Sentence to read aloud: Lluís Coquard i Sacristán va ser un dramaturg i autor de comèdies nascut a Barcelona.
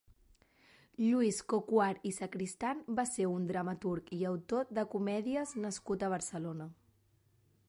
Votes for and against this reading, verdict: 4, 0, accepted